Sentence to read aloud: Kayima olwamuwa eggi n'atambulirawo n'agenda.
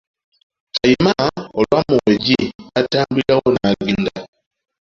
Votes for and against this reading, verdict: 2, 0, accepted